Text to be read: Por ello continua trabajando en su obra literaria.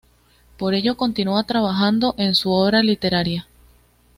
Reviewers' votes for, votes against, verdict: 2, 1, accepted